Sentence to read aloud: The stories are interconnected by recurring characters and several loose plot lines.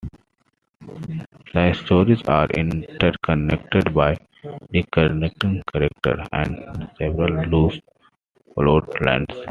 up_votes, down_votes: 2, 1